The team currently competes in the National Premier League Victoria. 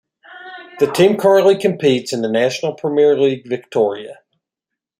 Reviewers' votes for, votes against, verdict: 1, 2, rejected